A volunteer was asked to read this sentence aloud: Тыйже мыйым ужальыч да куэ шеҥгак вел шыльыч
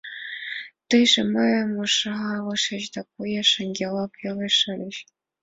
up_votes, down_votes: 1, 2